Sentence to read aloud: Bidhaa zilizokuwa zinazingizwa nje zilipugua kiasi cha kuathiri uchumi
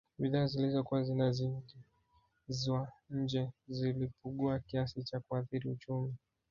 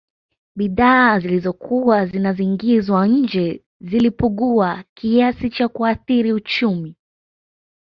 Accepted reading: second